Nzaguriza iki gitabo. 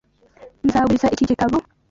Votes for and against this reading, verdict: 2, 1, accepted